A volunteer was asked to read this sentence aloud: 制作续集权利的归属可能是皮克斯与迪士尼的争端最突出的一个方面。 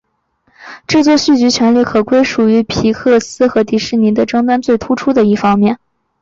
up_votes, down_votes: 2, 1